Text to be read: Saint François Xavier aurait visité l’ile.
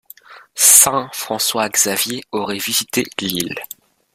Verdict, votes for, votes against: rejected, 0, 2